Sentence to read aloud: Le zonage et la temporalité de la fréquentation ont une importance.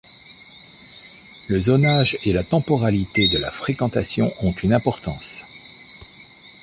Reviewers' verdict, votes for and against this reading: accepted, 2, 0